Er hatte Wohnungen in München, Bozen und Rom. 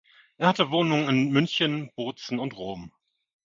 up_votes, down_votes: 2, 0